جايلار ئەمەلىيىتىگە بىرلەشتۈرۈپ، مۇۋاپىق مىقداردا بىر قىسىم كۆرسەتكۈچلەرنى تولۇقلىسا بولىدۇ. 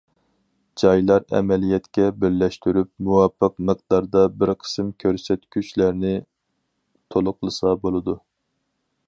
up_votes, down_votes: 0, 4